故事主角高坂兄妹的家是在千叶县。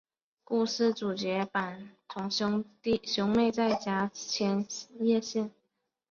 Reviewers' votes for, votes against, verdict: 2, 1, accepted